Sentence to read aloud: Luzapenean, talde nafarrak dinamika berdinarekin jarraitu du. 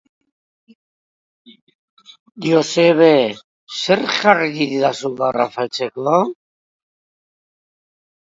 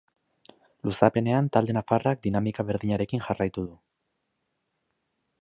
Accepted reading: second